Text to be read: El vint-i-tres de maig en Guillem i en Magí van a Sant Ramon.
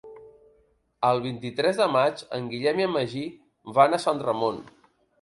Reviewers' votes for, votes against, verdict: 2, 0, accepted